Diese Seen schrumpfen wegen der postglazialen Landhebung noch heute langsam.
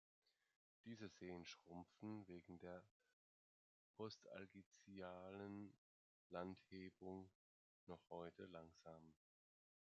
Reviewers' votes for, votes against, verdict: 0, 2, rejected